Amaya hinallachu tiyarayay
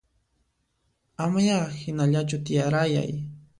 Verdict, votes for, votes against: accepted, 2, 0